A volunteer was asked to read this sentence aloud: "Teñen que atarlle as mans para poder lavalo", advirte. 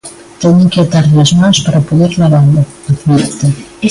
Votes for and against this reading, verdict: 1, 2, rejected